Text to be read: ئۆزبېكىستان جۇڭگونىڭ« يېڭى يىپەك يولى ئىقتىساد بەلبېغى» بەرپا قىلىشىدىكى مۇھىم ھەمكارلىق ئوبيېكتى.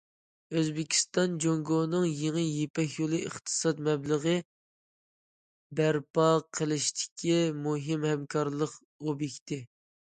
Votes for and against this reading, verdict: 0, 2, rejected